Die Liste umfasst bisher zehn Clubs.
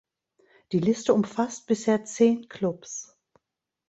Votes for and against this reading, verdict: 2, 0, accepted